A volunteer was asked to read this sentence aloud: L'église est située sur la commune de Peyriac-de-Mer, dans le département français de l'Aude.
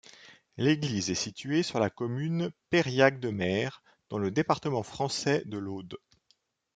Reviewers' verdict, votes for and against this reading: rejected, 1, 2